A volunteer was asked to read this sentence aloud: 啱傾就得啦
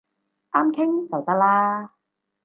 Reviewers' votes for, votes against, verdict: 4, 0, accepted